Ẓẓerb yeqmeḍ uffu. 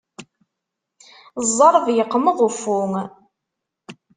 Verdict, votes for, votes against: accepted, 2, 0